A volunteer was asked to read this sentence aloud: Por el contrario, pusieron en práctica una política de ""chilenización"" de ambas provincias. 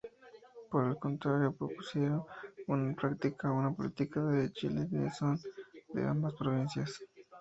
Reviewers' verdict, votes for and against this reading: rejected, 0, 4